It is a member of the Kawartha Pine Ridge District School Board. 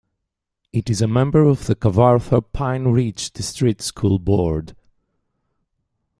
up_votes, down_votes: 2, 0